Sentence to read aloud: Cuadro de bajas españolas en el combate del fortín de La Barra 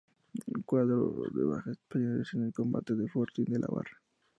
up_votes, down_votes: 2, 0